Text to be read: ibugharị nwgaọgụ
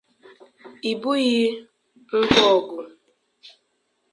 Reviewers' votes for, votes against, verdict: 0, 2, rejected